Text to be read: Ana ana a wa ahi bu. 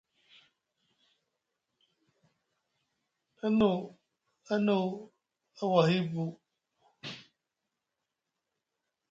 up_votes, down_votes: 2, 0